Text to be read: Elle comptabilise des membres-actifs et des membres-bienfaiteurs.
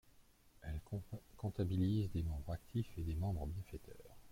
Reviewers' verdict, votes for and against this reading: rejected, 1, 2